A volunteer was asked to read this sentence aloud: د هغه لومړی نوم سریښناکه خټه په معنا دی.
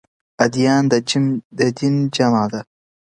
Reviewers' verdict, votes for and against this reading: rejected, 1, 2